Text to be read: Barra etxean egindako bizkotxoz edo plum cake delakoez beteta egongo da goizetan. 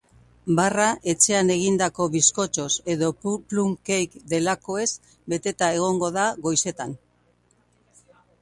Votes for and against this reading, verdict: 0, 2, rejected